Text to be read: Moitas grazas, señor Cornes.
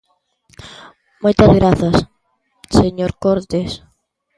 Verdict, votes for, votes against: rejected, 0, 2